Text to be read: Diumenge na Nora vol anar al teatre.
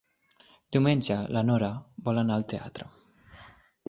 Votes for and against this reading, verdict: 3, 0, accepted